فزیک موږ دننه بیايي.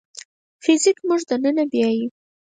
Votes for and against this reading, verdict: 2, 4, rejected